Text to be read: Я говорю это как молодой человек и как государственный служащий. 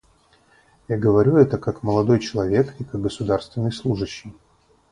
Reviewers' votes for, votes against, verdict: 2, 2, rejected